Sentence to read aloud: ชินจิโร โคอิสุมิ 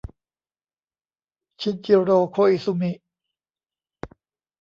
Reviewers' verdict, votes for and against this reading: rejected, 1, 2